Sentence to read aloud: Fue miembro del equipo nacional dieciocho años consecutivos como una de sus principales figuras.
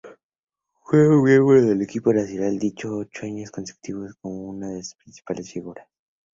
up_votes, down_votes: 2, 0